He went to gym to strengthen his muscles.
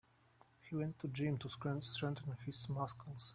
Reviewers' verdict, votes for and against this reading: rejected, 1, 2